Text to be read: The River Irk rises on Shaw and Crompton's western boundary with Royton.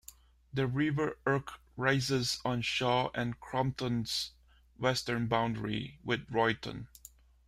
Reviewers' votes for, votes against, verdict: 2, 0, accepted